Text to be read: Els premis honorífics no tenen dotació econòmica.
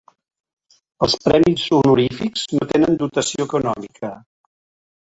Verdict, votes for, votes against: accepted, 2, 0